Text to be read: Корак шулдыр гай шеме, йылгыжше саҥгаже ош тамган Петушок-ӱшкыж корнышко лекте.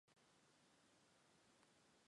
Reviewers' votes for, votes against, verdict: 1, 2, rejected